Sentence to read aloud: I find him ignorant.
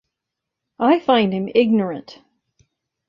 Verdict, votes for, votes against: accepted, 2, 0